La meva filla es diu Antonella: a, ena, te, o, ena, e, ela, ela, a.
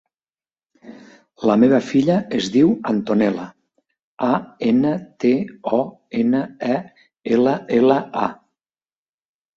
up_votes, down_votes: 2, 0